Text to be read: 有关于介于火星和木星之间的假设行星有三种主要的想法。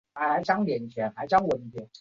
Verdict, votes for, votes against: rejected, 1, 3